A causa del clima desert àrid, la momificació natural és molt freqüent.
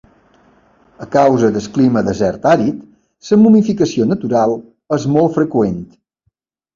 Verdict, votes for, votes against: rejected, 0, 2